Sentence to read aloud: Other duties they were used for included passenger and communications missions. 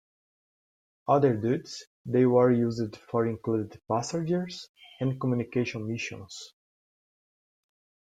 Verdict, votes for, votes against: accepted, 2, 1